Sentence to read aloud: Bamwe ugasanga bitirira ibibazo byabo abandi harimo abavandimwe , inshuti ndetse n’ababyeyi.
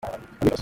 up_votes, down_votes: 0, 2